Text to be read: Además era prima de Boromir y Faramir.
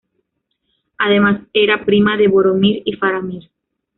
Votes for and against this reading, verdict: 2, 0, accepted